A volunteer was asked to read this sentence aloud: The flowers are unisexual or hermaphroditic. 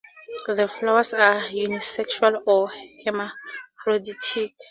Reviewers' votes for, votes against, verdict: 2, 2, rejected